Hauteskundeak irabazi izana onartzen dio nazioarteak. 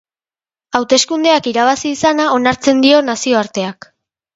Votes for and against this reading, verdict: 3, 0, accepted